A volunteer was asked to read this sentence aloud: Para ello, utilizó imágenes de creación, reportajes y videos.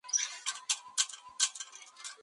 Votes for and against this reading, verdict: 0, 2, rejected